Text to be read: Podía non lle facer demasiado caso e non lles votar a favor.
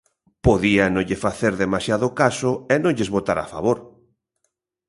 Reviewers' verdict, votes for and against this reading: accepted, 2, 0